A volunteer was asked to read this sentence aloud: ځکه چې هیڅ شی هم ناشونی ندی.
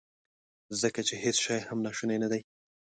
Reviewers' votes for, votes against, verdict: 2, 0, accepted